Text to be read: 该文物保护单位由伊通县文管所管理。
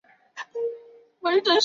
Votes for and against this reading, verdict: 0, 3, rejected